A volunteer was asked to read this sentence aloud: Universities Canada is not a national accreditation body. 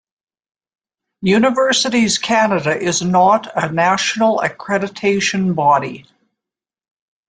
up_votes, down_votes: 2, 0